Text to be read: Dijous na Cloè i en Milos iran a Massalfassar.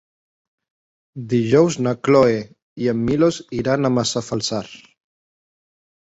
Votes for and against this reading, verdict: 1, 2, rejected